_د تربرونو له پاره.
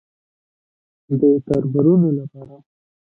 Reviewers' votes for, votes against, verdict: 0, 2, rejected